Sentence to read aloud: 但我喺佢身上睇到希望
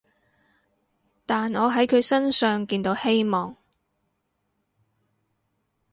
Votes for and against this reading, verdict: 4, 6, rejected